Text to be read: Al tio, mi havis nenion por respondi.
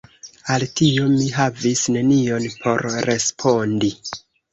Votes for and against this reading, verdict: 2, 0, accepted